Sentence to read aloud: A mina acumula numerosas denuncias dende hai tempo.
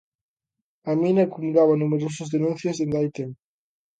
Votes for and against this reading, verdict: 0, 2, rejected